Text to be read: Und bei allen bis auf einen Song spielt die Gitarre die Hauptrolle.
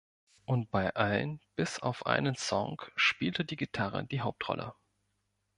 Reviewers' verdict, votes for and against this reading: rejected, 0, 2